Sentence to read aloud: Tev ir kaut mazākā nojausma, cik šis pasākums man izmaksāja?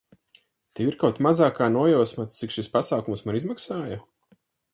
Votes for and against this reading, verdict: 6, 0, accepted